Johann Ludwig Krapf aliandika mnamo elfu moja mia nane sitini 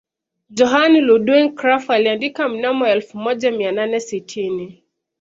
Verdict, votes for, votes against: accepted, 2, 0